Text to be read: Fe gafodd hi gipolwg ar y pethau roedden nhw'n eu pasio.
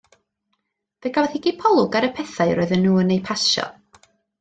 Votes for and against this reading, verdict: 2, 1, accepted